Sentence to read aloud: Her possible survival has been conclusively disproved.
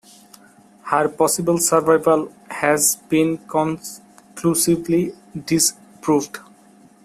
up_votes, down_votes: 1, 2